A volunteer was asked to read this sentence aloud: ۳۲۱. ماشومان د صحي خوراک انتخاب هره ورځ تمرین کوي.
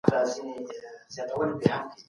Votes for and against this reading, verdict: 0, 2, rejected